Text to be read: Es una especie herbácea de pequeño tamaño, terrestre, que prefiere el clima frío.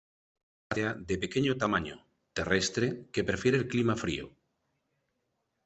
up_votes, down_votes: 1, 2